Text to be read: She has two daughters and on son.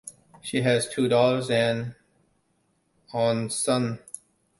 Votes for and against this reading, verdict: 2, 0, accepted